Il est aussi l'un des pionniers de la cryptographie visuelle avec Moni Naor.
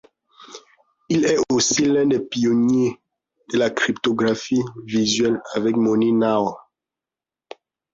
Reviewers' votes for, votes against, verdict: 2, 0, accepted